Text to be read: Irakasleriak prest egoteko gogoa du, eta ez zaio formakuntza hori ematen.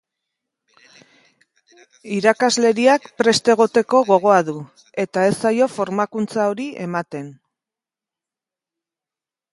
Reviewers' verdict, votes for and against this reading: accepted, 3, 0